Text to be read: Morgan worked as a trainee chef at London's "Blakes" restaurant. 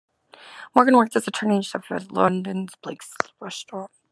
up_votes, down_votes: 0, 2